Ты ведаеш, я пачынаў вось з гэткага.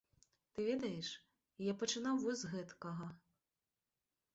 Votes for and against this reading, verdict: 2, 0, accepted